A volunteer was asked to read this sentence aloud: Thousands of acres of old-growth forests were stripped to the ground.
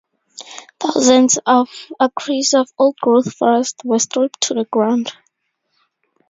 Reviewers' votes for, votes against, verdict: 0, 2, rejected